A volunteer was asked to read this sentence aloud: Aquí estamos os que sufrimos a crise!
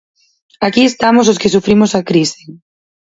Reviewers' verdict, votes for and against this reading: accepted, 4, 2